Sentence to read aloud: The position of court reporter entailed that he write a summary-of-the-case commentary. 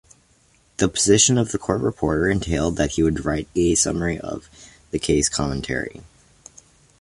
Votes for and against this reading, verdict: 2, 0, accepted